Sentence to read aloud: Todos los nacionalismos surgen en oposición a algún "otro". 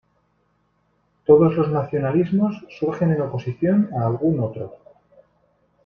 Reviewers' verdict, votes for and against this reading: accepted, 2, 0